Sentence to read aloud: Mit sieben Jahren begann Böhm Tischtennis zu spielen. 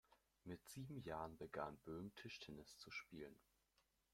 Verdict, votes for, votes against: accepted, 2, 0